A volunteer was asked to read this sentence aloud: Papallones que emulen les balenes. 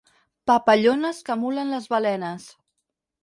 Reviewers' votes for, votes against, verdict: 6, 0, accepted